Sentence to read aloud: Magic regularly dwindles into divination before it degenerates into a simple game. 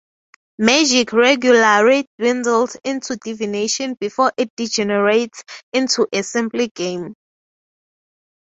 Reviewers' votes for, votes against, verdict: 3, 0, accepted